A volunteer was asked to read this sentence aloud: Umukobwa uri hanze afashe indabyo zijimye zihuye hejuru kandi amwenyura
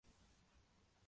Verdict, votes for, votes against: rejected, 0, 2